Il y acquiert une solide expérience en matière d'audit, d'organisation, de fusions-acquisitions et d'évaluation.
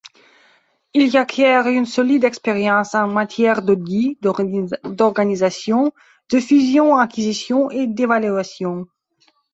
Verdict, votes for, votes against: rejected, 0, 2